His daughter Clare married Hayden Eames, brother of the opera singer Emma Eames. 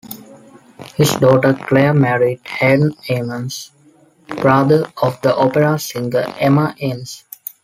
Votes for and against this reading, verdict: 1, 2, rejected